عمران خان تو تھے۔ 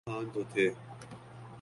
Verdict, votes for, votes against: accepted, 2, 1